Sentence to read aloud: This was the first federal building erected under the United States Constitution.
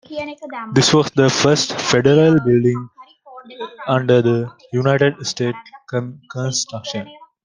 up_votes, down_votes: 0, 2